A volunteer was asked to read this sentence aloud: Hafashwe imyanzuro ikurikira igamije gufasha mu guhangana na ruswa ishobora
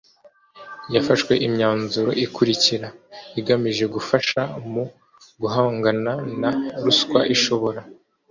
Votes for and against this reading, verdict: 0, 2, rejected